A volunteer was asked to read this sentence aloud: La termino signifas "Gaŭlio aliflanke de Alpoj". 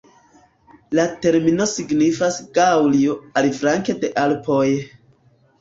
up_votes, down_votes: 2, 0